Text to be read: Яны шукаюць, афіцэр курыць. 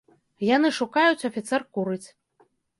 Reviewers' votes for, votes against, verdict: 2, 0, accepted